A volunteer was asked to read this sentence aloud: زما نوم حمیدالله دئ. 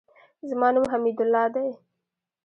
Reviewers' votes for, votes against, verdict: 1, 2, rejected